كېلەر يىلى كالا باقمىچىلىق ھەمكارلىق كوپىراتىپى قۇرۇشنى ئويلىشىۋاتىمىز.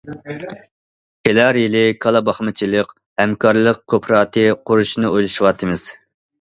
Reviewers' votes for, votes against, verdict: 0, 2, rejected